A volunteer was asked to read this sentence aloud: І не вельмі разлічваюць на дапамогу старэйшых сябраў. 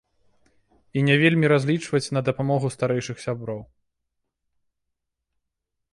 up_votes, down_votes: 1, 2